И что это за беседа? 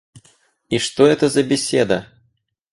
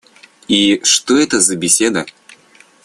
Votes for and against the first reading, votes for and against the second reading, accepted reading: 2, 2, 2, 0, second